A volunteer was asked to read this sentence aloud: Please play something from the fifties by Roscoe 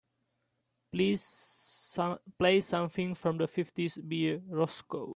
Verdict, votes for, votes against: rejected, 0, 2